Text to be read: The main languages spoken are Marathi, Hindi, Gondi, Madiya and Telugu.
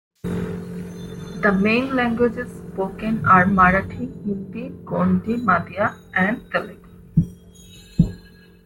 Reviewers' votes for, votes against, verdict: 2, 0, accepted